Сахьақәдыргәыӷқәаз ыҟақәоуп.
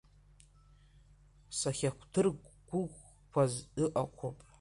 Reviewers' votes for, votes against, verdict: 0, 2, rejected